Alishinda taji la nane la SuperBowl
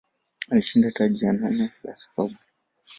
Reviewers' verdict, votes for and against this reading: accepted, 2, 1